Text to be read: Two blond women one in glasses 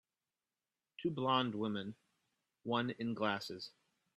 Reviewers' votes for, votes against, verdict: 4, 0, accepted